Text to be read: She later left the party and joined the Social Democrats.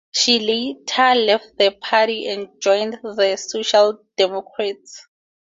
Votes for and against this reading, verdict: 2, 0, accepted